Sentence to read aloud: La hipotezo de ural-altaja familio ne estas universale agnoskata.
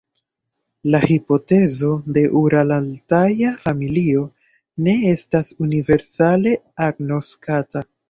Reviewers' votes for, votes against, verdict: 2, 0, accepted